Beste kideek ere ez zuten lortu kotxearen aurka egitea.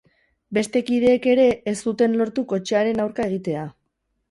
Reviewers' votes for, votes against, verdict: 2, 4, rejected